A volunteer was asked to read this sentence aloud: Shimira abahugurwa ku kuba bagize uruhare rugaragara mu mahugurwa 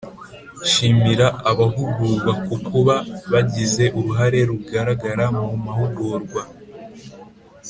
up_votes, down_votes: 2, 0